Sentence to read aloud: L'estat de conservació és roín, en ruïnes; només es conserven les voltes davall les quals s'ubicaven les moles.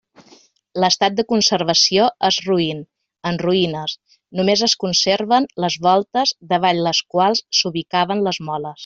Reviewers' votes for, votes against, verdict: 2, 0, accepted